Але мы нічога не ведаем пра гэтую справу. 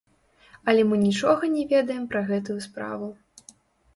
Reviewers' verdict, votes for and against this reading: rejected, 0, 2